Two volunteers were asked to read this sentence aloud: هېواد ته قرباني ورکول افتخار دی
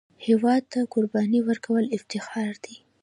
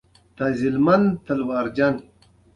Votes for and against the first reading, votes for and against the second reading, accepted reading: 2, 0, 0, 2, first